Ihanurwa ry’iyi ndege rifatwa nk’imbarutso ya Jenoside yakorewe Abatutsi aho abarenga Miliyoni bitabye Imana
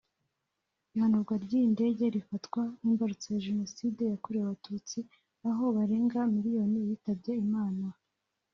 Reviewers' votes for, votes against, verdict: 1, 2, rejected